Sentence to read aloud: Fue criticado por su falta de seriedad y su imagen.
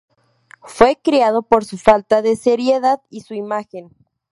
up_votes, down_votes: 0, 4